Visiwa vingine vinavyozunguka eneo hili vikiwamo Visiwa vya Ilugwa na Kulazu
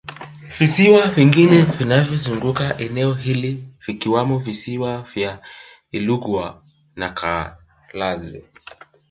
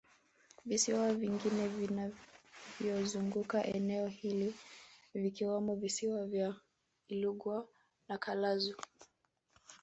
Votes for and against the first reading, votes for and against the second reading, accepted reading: 3, 1, 1, 2, first